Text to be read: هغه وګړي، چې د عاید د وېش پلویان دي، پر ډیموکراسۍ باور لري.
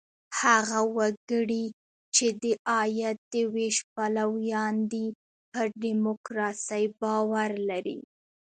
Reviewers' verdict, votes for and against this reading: rejected, 0, 2